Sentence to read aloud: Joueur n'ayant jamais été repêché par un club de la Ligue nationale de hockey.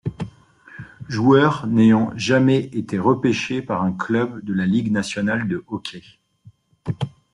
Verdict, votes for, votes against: accepted, 2, 0